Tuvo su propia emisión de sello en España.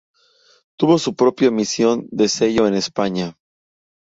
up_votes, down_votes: 2, 0